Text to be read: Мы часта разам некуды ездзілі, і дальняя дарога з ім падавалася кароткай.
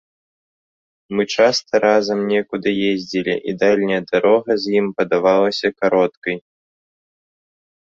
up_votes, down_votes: 2, 0